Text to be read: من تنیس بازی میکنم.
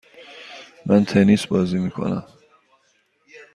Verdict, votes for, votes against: accepted, 2, 0